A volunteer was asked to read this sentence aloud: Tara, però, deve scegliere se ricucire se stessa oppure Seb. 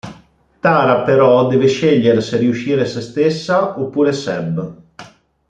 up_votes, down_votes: 1, 2